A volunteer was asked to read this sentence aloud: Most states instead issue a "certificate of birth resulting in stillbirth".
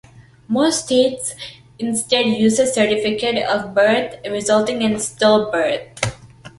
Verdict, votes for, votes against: rejected, 1, 2